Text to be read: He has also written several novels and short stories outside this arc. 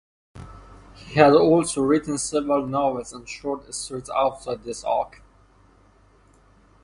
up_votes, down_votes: 0, 2